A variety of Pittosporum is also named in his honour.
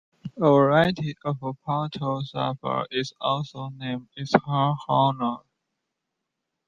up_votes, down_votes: 2, 1